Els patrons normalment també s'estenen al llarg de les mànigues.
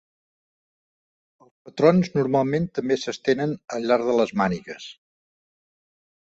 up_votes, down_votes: 0, 2